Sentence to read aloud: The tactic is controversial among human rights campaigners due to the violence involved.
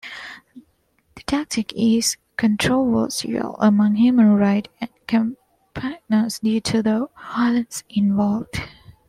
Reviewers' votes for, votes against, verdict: 2, 1, accepted